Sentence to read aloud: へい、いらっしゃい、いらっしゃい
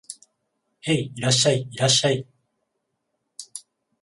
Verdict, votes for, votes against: accepted, 21, 0